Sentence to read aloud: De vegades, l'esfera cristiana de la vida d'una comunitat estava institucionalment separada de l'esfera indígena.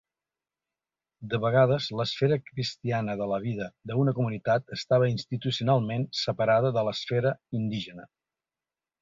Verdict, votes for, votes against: rejected, 0, 2